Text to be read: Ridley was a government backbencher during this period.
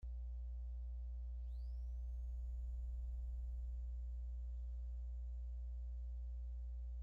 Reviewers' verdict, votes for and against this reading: rejected, 0, 2